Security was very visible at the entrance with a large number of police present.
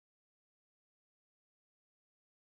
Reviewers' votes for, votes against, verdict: 0, 4, rejected